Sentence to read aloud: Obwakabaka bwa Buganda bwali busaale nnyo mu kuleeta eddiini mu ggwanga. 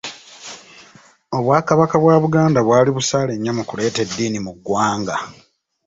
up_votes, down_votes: 2, 0